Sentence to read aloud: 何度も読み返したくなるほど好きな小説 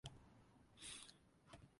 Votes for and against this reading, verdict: 0, 2, rejected